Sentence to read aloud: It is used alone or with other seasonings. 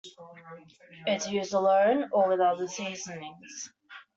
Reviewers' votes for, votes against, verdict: 2, 1, accepted